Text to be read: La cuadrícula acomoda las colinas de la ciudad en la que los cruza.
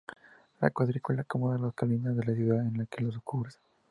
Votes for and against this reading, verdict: 2, 0, accepted